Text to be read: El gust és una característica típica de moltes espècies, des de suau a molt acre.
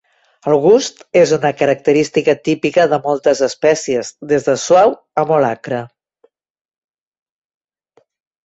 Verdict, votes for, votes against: accepted, 4, 0